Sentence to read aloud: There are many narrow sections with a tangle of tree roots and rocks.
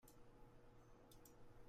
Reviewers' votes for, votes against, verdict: 0, 2, rejected